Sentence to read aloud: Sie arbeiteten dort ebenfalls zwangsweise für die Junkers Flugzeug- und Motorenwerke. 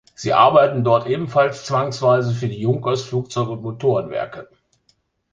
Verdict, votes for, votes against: rejected, 1, 2